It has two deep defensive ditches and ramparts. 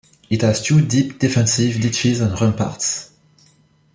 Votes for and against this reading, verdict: 2, 0, accepted